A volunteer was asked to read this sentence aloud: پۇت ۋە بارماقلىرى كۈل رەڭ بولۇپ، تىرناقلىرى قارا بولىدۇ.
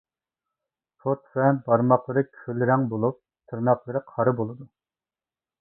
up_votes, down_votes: 0, 2